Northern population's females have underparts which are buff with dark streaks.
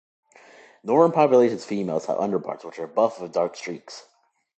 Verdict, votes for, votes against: accepted, 2, 0